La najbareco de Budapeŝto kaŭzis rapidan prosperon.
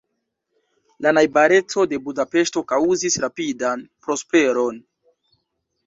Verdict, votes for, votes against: accepted, 2, 0